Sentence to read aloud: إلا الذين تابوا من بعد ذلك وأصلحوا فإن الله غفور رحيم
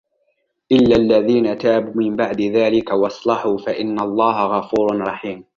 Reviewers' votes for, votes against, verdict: 2, 1, accepted